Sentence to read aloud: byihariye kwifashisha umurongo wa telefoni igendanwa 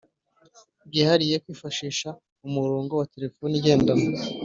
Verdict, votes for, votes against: accepted, 2, 0